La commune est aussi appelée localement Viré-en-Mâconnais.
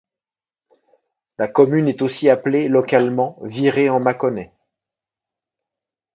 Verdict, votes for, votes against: accepted, 2, 0